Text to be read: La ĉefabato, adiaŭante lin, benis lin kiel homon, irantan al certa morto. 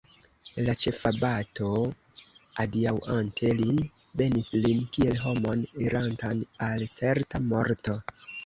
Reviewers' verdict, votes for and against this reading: rejected, 1, 2